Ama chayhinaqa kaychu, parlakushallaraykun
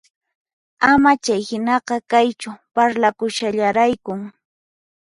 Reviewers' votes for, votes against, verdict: 4, 0, accepted